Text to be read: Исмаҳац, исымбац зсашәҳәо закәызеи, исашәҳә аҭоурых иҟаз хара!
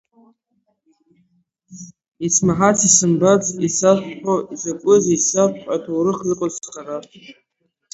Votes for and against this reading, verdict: 0, 11, rejected